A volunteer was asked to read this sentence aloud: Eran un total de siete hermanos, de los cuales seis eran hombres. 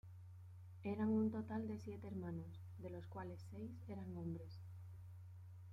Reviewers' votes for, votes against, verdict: 2, 0, accepted